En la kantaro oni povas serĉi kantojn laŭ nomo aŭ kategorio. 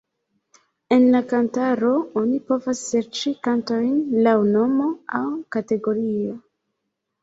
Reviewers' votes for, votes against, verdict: 2, 0, accepted